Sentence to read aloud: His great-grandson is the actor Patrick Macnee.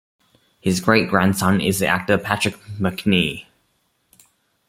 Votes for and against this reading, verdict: 2, 1, accepted